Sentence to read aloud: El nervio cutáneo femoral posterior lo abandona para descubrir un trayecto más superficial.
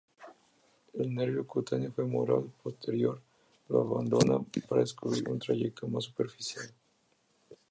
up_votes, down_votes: 2, 0